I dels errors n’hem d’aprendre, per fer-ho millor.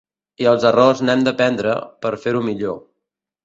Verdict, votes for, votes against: rejected, 1, 2